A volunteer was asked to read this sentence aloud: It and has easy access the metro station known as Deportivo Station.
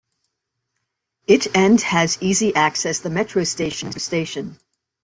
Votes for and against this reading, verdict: 1, 2, rejected